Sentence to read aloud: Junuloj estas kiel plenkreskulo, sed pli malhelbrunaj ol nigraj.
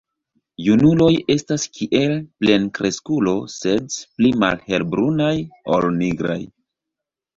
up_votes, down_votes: 2, 0